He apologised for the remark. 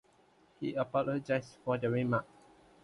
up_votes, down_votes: 2, 0